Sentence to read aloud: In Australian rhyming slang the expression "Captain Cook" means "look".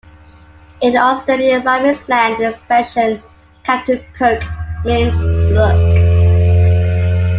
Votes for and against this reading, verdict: 3, 2, accepted